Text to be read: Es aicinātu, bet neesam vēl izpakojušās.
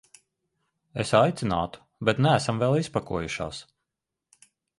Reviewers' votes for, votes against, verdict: 2, 0, accepted